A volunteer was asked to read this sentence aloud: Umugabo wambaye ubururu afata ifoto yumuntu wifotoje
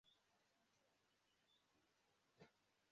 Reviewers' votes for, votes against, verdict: 0, 2, rejected